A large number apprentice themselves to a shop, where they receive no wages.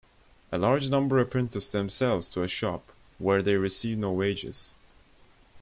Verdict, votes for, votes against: accepted, 2, 0